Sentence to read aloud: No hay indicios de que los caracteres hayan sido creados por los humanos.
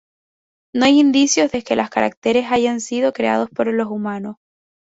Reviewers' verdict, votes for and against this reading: accepted, 2, 0